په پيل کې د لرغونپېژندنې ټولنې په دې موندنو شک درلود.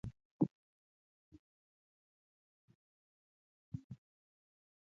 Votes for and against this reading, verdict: 1, 2, rejected